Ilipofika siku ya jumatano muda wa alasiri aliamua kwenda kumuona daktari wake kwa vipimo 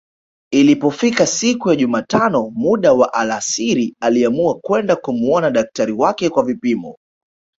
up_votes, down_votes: 0, 2